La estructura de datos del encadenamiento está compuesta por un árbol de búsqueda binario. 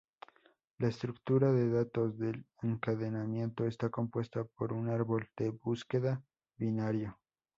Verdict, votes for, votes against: accepted, 2, 0